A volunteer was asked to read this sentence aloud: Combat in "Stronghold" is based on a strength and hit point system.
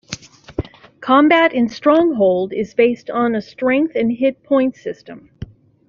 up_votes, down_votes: 2, 0